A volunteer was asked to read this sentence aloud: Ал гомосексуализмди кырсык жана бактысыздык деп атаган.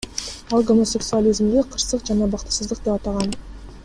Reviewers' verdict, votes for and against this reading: accepted, 2, 0